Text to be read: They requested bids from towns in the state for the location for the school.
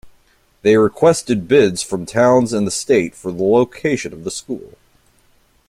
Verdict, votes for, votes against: rejected, 1, 2